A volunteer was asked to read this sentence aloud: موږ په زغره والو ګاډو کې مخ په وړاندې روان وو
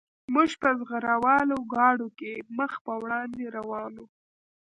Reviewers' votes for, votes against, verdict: 0, 2, rejected